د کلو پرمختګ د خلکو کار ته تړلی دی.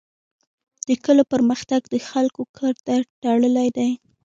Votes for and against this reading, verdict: 2, 1, accepted